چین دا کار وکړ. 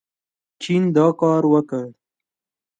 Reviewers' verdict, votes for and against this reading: accepted, 2, 0